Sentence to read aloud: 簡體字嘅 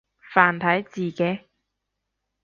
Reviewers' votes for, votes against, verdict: 0, 2, rejected